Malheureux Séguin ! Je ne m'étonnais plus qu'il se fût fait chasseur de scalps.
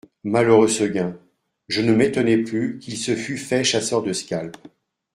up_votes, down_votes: 0, 2